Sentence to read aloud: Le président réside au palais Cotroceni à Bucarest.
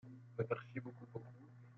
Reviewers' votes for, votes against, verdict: 0, 2, rejected